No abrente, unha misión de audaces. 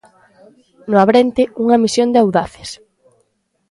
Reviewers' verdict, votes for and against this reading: accepted, 2, 0